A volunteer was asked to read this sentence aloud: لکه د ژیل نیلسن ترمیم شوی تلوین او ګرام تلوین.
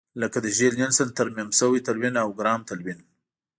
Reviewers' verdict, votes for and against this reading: accepted, 2, 0